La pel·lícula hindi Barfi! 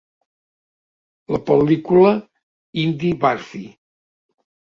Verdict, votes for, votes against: accepted, 2, 1